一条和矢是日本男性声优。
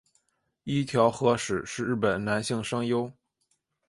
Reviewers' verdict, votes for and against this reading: accepted, 3, 0